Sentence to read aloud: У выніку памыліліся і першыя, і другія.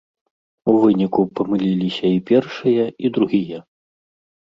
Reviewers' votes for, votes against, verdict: 2, 0, accepted